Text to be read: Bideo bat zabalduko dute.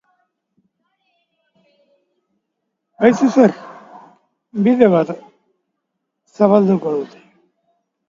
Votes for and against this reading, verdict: 0, 2, rejected